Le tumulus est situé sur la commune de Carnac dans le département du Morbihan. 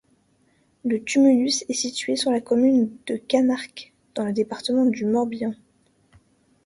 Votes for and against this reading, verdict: 1, 2, rejected